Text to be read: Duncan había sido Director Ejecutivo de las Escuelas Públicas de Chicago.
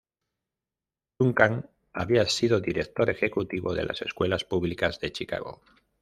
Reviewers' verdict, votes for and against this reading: accepted, 2, 0